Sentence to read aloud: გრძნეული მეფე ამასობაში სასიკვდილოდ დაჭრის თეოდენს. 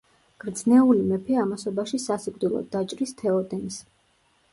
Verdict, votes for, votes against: accepted, 2, 0